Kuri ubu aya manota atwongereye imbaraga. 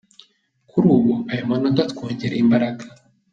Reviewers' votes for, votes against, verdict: 2, 0, accepted